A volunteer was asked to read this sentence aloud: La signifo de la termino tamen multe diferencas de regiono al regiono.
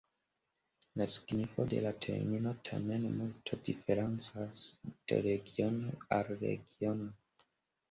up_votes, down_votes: 1, 2